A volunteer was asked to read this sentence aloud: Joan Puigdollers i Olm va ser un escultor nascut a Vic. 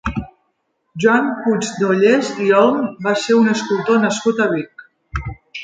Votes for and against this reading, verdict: 1, 2, rejected